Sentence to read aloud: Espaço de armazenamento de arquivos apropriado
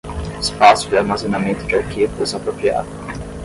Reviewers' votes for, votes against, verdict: 5, 5, rejected